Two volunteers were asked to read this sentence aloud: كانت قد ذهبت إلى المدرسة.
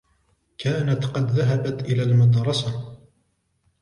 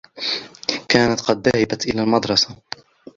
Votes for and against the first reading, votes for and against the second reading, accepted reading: 3, 0, 0, 2, first